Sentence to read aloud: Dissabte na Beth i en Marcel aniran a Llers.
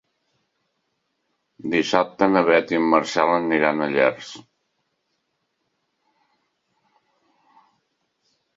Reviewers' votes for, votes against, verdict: 3, 0, accepted